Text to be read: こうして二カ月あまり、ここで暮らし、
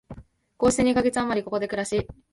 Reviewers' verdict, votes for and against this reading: accepted, 2, 0